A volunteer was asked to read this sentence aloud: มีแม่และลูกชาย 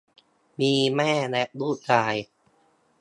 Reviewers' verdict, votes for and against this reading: accepted, 2, 0